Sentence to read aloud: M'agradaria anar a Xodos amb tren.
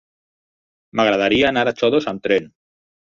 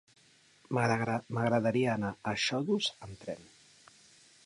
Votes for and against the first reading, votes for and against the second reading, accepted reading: 6, 0, 0, 2, first